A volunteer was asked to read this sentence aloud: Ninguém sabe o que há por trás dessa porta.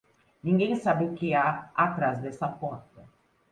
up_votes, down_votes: 0, 2